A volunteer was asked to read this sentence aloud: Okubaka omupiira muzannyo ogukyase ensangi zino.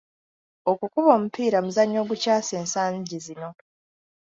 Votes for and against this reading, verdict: 0, 2, rejected